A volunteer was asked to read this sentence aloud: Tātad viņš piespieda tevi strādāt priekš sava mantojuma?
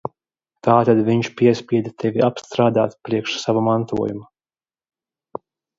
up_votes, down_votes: 0, 2